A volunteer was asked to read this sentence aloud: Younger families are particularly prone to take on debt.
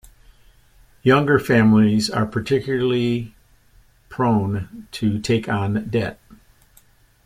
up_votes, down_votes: 2, 0